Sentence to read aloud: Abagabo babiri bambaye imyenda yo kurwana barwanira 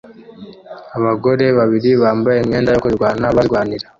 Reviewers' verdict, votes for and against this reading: rejected, 0, 2